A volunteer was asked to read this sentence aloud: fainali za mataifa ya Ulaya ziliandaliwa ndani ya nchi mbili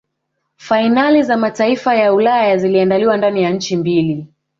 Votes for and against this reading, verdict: 2, 0, accepted